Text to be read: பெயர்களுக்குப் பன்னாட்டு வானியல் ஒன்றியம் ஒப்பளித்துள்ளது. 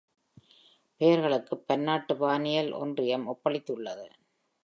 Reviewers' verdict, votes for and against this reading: rejected, 1, 2